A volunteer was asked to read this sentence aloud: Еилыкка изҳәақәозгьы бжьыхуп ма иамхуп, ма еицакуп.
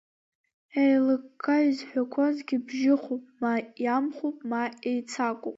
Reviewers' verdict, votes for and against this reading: accepted, 2, 1